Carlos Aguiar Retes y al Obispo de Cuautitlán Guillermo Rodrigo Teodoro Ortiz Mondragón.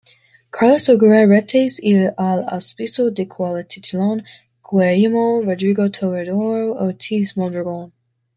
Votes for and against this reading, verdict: 0, 2, rejected